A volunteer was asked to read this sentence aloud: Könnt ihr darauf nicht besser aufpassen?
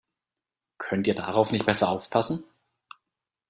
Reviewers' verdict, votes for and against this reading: accepted, 2, 0